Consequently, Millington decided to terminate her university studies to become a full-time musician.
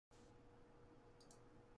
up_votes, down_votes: 0, 2